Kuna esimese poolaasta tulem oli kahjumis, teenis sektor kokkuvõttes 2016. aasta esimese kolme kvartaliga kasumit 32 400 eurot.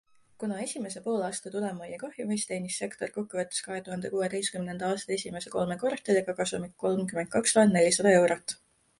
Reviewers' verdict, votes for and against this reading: rejected, 0, 2